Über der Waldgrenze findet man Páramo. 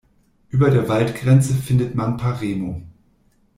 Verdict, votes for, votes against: rejected, 0, 2